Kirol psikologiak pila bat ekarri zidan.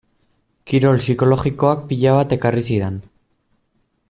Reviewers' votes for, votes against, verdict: 0, 2, rejected